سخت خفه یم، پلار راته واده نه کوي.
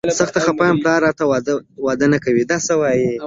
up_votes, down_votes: 0, 2